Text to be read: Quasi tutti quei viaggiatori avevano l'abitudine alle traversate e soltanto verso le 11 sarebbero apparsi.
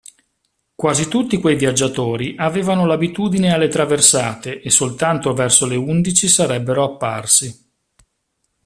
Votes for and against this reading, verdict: 0, 2, rejected